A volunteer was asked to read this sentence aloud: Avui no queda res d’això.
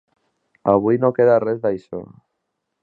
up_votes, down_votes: 2, 0